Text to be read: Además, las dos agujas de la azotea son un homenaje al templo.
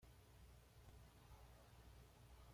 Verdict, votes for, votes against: rejected, 1, 2